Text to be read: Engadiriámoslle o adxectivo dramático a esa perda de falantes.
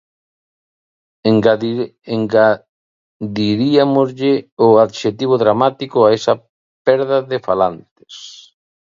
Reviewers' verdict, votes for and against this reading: rejected, 0, 2